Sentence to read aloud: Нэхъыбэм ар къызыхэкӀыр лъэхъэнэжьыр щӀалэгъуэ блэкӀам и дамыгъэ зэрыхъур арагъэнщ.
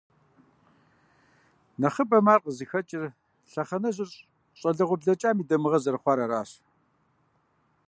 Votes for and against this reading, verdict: 1, 2, rejected